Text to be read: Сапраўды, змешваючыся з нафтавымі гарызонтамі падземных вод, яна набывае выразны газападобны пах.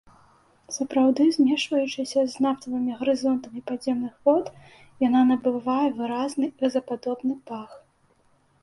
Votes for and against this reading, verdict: 2, 0, accepted